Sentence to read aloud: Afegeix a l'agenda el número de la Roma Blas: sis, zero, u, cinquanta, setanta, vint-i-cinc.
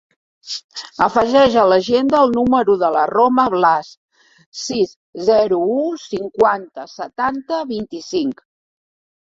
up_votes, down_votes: 3, 0